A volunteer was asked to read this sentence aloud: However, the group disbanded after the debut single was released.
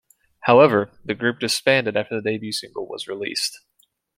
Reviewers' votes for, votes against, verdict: 2, 0, accepted